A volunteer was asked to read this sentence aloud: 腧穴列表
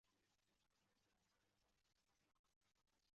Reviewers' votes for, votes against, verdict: 0, 2, rejected